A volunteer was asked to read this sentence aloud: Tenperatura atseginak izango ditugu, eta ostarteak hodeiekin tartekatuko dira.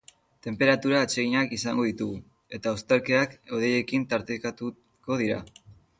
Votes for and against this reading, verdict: 1, 3, rejected